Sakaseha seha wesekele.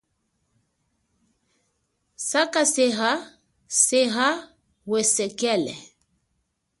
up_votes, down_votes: 2, 0